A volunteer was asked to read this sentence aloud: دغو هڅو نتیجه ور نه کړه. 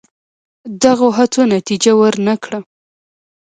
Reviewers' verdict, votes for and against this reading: accepted, 2, 0